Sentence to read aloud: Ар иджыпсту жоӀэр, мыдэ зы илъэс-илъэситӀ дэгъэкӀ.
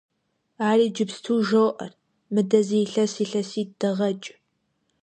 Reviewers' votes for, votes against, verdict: 2, 0, accepted